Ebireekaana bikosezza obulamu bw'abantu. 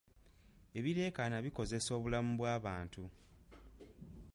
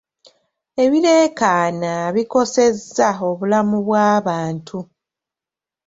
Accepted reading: second